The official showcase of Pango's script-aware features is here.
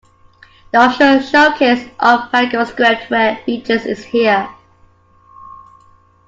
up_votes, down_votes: 2, 1